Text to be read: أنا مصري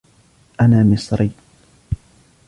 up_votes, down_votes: 2, 0